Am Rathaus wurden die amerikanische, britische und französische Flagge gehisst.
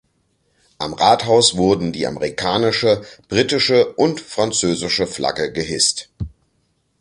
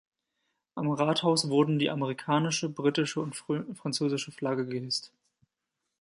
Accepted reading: first